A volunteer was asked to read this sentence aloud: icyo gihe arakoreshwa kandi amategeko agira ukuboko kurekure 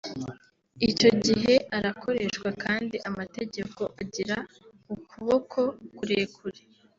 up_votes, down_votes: 0, 2